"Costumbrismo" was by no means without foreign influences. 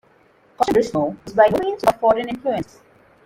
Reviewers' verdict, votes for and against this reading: rejected, 0, 2